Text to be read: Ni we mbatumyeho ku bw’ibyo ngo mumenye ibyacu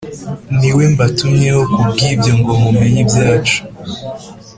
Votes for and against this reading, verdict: 2, 0, accepted